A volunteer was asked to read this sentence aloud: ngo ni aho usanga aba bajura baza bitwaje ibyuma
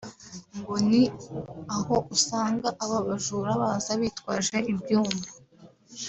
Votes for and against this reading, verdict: 2, 1, accepted